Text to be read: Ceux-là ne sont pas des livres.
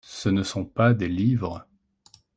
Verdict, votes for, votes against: rejected, 0, 2